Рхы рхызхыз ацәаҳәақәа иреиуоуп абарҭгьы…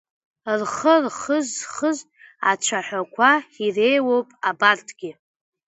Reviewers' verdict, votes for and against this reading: accepted, 2, 0